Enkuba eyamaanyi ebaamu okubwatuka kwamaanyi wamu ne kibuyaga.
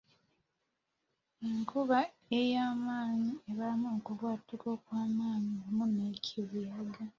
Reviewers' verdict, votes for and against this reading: rejected, 1, 2